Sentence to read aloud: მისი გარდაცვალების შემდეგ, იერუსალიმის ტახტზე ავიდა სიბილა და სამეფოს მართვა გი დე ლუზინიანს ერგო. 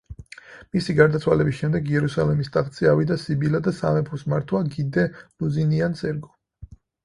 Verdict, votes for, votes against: accepted, 4, 0